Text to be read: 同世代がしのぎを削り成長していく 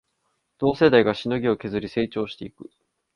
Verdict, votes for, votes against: accepted, 2, 0